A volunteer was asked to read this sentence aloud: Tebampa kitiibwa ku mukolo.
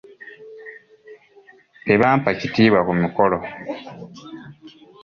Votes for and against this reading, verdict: 2, 0, accepted